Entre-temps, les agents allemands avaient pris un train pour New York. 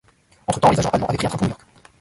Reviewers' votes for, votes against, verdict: 0, 2, rejected